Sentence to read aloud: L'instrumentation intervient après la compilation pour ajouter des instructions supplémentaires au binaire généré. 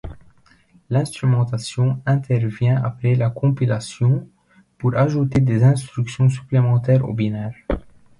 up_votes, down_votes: 0, 2